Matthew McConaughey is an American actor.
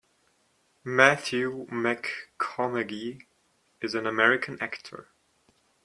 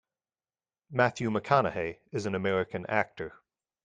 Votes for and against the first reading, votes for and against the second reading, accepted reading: 0, 2, 2, 0, second